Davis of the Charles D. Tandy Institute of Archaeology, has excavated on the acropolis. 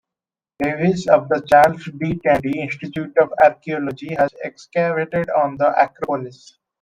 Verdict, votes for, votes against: rejected, 1, 2